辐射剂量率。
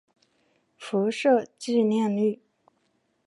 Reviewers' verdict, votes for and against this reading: accepted, 2, 0